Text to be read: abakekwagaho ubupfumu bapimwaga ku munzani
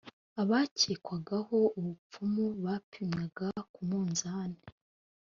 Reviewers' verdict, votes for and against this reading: accepted, 2, 0